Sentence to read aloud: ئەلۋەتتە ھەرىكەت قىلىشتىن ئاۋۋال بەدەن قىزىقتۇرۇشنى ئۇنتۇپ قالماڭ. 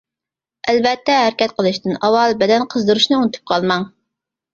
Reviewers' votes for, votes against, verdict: 0, 2, rejected